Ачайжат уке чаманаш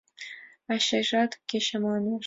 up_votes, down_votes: 1, 2